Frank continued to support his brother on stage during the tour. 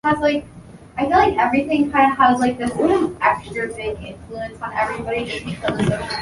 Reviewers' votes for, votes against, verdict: 0, 2, rejected